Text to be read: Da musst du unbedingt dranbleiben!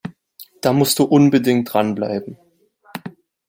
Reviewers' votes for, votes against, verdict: 3, 0, accepted